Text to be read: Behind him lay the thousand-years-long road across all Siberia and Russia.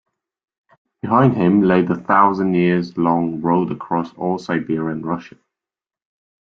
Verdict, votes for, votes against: accepted, 2, 0